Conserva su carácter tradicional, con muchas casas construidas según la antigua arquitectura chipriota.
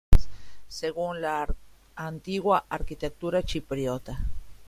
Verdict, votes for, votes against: rejected, 0, 2